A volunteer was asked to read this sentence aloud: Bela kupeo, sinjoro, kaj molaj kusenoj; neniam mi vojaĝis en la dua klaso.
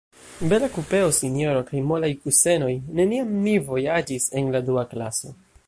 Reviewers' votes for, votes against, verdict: 2, 0, accepted